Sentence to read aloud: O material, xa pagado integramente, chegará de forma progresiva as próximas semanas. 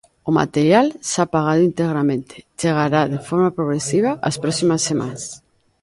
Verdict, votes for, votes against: rejected, 0, 2